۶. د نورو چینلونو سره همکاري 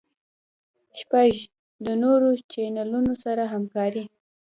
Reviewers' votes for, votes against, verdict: 0, 2, rejected